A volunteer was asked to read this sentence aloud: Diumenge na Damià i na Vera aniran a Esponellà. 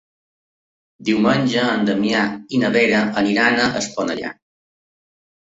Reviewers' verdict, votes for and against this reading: accepted, 2, 1